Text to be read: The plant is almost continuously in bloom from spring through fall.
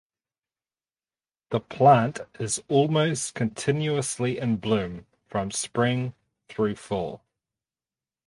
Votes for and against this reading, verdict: 2, 2, rejected